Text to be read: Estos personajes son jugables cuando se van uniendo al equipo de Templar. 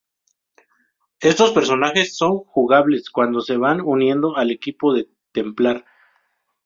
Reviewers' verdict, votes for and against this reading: accepted, 2, 0